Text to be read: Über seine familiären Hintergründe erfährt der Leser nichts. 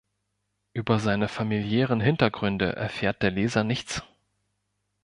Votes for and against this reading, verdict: 2, 0, accepted